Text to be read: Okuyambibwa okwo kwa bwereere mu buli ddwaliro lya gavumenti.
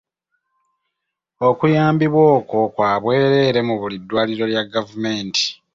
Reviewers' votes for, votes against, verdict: 2, 0, accepted